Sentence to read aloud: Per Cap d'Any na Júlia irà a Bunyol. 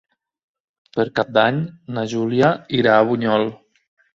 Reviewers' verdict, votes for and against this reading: accepted, 2, 1